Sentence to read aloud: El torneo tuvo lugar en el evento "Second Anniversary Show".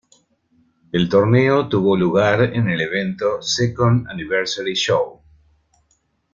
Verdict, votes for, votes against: accepted, 2, 1